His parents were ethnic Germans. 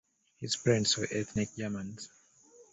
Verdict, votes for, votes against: accepted, 2, 0